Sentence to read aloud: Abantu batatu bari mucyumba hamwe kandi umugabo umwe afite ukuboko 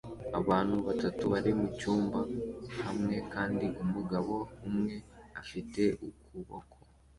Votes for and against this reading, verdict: 2, 0, accepted